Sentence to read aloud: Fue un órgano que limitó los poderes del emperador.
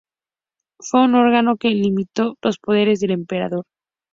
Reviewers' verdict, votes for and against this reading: accepted, 2, 0